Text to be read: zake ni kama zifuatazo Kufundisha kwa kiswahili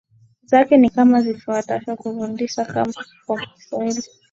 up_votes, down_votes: 16, 3